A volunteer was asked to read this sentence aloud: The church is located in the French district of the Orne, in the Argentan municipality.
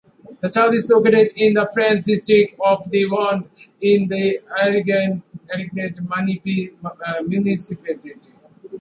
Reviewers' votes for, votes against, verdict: 1, 2, rejected